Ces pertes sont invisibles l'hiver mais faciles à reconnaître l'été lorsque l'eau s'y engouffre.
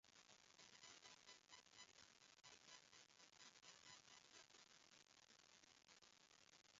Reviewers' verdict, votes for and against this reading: rejected, 0, 2